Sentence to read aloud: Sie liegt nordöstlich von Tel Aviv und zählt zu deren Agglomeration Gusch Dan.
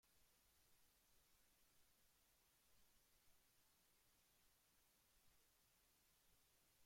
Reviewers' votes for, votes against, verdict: 0, 2, rejected